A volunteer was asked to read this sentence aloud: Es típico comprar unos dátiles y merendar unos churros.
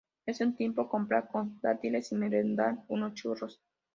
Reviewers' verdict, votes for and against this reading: rejected, 0, 2